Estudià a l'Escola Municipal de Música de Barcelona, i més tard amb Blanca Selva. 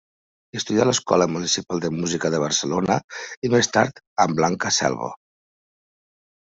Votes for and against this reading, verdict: 2, 0, accepted